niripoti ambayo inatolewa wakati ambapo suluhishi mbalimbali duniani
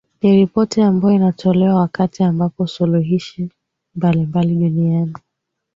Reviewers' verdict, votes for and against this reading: accepted, 3, 0